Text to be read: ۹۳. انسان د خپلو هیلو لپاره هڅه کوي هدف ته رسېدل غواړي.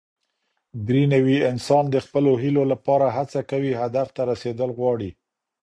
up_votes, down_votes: 0, 2